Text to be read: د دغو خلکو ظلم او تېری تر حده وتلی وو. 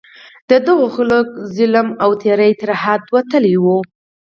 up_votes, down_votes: 6, 0